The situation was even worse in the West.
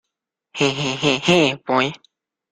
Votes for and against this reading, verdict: 0, 2, rejected